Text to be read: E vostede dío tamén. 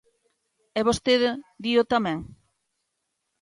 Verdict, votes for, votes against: accepted, 2, 0